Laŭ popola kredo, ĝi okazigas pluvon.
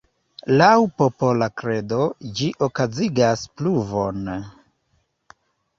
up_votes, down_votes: 0, 2